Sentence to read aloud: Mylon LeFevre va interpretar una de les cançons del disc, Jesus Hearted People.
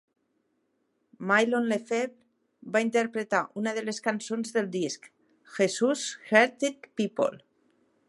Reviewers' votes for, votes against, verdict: 2, 1, accepted